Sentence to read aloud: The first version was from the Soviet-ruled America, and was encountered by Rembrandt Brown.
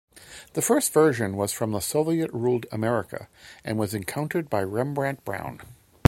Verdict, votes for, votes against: accepted, 2, 0